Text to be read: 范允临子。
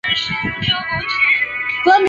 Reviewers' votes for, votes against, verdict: 0, 3, rejected